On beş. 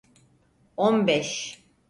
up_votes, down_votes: 4, 0